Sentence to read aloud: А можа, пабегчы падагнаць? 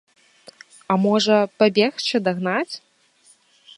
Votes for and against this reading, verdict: 1, 2, rejected